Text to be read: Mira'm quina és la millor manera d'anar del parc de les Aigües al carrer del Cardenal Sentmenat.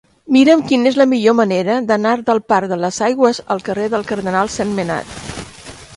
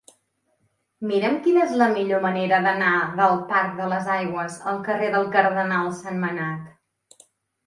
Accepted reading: second